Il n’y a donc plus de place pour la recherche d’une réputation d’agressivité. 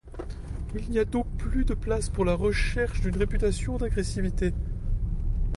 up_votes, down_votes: 2, 0